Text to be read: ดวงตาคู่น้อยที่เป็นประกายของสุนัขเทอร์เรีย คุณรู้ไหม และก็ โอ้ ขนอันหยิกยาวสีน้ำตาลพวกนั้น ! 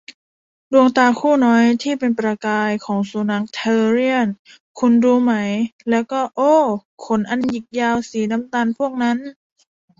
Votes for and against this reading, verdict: 0, 2, rejected